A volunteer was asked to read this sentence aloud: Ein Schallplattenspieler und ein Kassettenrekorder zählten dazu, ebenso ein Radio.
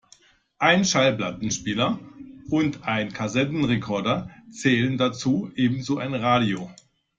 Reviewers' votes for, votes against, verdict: 0, 2, rejected